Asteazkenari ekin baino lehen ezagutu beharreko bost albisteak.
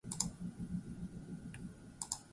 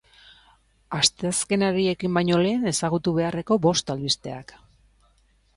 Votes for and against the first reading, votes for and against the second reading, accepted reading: 0, 2, 2, 0, second